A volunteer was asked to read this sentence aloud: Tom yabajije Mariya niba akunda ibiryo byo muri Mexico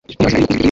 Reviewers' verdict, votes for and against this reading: rejected, 1, 2